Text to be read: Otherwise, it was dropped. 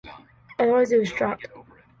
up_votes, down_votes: 2, 0